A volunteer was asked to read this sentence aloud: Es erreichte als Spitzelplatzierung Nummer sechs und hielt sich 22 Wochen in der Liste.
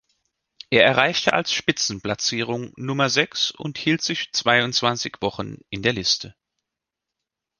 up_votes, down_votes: 0, 2